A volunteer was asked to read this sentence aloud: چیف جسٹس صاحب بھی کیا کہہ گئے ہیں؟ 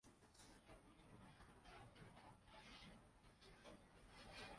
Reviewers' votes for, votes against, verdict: 0, 2, rejected